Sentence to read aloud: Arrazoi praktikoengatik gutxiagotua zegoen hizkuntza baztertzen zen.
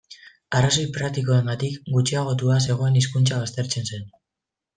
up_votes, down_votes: 2, 1